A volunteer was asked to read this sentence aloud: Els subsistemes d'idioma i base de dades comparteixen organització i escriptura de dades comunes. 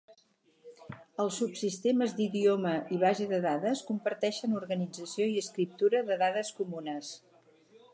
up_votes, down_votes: 4, 0